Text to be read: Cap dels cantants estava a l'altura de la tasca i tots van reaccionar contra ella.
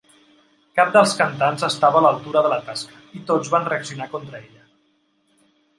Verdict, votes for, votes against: accepted, 3, 0